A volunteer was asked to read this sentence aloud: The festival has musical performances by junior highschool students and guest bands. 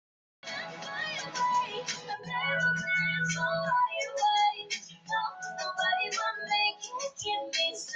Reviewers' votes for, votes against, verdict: 0, 2, rejected